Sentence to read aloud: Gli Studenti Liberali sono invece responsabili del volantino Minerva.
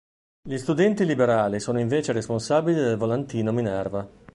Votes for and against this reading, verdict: 2, 0, accepted